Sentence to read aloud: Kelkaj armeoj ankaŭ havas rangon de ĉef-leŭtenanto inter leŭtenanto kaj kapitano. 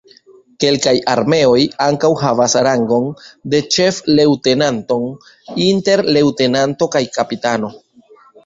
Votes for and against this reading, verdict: 1, 2, rejected